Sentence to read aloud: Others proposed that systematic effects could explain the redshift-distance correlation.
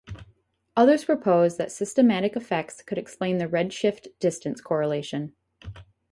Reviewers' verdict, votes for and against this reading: accepted, 4, 2